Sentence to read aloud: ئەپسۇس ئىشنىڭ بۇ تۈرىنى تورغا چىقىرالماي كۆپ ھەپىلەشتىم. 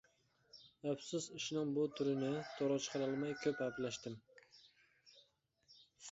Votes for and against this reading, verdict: 0, 2, rejected